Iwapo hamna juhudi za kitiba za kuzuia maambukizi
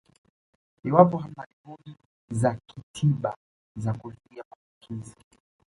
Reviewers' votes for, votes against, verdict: 0, 2, rejected